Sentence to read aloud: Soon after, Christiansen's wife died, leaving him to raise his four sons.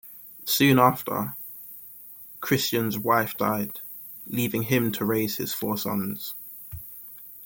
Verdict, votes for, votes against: rejected, 0, 2